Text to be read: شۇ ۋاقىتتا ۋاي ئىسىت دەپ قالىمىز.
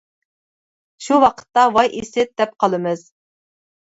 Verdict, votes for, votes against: accepted, 2, 0